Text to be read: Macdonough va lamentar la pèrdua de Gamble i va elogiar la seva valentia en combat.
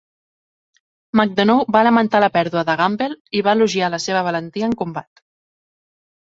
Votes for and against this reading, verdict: 2, 0, accepted